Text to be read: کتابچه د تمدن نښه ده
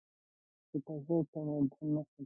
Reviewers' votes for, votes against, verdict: 0, 2, rejected